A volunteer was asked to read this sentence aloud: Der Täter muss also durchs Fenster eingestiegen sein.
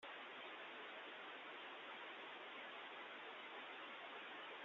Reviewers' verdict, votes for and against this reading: rejected, 0, 2